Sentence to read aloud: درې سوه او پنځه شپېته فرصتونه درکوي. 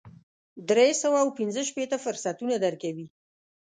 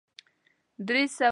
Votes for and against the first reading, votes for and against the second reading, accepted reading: 3, 0, 0, 2, first